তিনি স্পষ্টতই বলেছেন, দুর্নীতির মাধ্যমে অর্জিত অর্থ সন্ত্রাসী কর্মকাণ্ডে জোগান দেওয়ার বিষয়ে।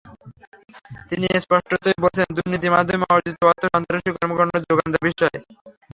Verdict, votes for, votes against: rejected, 0, 3